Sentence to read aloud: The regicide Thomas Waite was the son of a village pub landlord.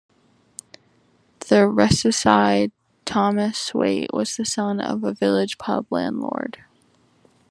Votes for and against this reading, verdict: 2, 1, accepted